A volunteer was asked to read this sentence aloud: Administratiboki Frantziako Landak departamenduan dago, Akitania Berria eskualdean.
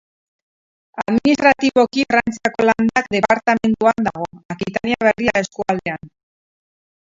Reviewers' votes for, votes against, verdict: 0, 4, rejected